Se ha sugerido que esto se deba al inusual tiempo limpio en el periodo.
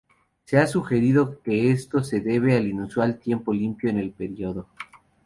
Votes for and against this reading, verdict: 2, 0, accepted